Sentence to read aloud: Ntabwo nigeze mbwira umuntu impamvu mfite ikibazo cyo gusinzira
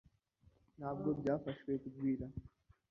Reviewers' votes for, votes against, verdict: 0, 2, rejected